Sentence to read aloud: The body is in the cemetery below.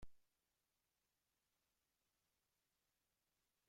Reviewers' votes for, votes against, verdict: 0, 2, rejected